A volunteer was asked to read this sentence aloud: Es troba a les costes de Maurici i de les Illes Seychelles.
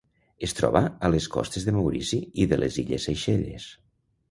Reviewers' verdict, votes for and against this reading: accepted, 3, 0